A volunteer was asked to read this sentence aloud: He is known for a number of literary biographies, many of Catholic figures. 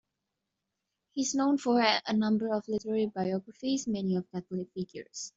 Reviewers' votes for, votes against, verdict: 2, 3, rejected